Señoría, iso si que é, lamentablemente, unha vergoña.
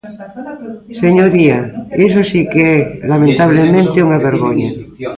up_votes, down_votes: 1, 2